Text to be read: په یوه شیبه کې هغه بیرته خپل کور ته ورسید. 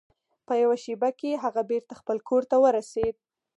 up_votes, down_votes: 4, 0